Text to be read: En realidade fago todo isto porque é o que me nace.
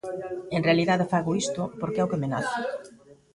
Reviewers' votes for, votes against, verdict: 0, 2, rejected